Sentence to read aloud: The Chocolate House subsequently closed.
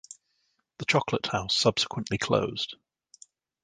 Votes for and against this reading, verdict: 2, 0, accepted